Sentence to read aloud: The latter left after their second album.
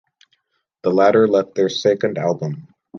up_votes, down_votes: 1, 2